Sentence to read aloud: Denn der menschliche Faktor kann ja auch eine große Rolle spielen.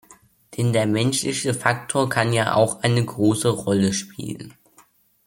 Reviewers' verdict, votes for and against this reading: accepted, 2, 0